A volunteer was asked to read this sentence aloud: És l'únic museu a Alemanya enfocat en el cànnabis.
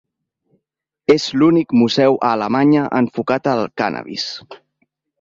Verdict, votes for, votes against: accepted, 2, 0